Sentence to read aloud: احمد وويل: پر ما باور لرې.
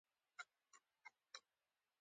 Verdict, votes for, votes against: rejected, 0, 2